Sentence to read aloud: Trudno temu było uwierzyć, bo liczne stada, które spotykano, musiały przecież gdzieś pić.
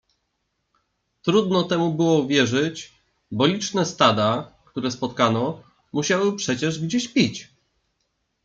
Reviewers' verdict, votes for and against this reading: rejected, 1, 2